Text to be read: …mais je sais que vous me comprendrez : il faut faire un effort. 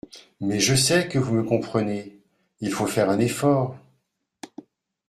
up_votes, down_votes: 0, 2